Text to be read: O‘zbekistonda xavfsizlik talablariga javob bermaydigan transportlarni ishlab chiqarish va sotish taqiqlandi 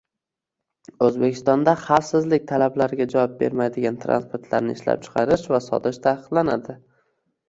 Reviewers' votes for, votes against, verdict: 0, 2, rejected